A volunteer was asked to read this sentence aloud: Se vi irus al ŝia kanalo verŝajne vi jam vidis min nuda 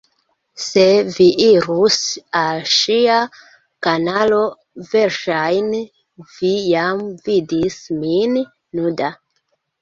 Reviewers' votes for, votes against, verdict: 2, 0, accepted